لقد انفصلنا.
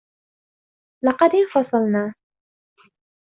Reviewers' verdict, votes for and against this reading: accepted, 2, 0